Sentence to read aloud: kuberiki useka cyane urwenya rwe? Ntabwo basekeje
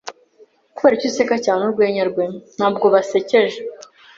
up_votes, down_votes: 2, 0